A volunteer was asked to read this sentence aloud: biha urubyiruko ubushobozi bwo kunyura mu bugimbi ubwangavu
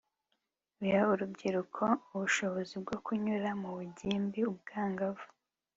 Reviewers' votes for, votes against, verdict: 3, 1, accepted